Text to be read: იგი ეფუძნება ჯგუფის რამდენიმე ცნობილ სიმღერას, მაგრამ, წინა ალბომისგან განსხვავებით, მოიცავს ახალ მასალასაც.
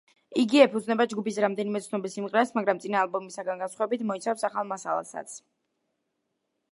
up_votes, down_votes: 2, 0